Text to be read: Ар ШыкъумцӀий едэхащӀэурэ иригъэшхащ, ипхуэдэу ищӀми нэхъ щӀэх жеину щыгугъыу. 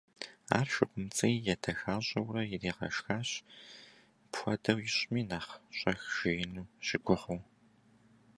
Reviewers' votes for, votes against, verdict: 0, 2, rejected